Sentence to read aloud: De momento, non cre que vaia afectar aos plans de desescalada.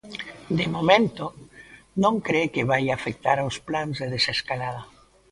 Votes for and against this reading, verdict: 2, 0, accepted